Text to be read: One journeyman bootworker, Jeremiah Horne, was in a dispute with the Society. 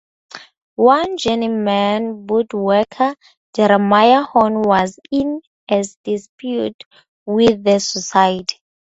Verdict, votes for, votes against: rejected, 2, 2